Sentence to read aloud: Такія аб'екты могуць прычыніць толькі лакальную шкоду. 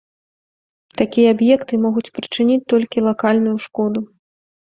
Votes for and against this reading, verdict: 2, 0, accepted